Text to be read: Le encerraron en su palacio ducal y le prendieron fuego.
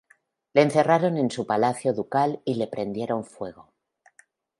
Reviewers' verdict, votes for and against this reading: accepted, 2, 0